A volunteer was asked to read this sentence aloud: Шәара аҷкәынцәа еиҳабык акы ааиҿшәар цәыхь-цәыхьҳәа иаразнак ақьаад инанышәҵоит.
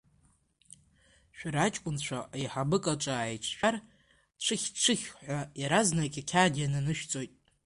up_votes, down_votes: 1, 2